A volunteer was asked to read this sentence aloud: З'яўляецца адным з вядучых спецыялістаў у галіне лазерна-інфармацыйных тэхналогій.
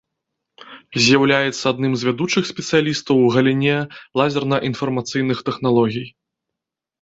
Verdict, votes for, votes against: accepted, 2, 0